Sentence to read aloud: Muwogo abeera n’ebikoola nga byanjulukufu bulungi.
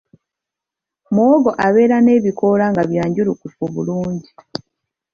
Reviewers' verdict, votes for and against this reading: accepted, 2, 0